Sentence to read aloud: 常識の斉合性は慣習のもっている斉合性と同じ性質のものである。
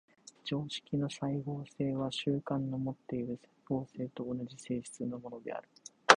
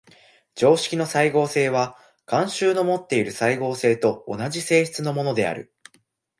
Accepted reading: second